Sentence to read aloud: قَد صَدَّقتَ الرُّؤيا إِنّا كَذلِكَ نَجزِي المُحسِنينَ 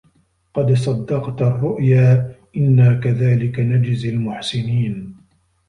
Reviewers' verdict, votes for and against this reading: accepted, 2, 0